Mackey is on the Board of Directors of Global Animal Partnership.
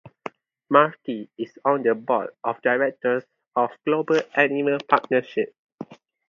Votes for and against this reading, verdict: 4, 0, accepted